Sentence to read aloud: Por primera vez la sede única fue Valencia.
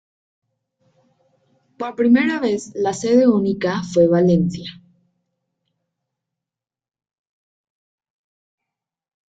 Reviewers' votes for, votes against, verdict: 2, 0, accepted